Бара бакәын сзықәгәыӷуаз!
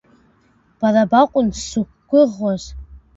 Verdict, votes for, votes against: rejected, 1, 2